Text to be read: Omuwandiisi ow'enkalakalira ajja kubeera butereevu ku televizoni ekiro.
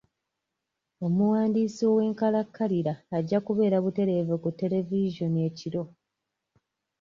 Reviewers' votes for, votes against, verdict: 2, 0, accepted